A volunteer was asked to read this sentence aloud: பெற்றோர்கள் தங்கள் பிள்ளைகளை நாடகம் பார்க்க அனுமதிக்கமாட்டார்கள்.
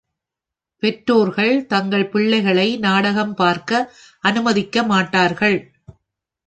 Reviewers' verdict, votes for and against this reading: accepted, 4, 0